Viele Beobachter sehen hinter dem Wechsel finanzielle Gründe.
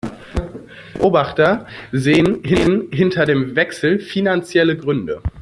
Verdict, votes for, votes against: rejected, 0, 2